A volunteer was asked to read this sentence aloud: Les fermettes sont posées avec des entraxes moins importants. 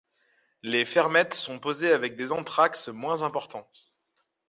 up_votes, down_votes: 0, 2